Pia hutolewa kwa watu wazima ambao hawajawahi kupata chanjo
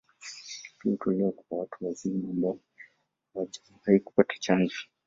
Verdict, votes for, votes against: rejected, 1, 2